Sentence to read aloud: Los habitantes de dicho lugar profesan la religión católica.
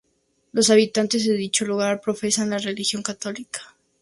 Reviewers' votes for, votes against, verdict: 2, 0, accepted